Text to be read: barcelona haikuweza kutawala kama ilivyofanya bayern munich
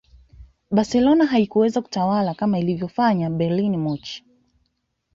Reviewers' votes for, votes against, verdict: 2, 0, accepted